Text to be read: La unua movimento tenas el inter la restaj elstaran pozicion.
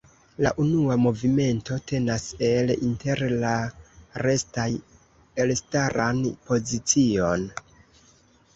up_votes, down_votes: 2, 0